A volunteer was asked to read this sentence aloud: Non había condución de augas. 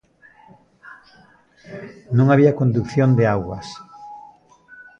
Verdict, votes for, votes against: rejected, 0, 2